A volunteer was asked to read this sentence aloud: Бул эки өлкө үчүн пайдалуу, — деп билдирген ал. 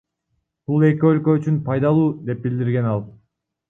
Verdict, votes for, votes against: accepted, 2, 1